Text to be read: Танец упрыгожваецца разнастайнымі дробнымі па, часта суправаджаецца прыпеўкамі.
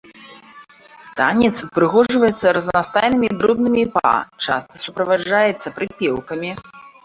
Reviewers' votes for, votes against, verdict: 1, 2, rejected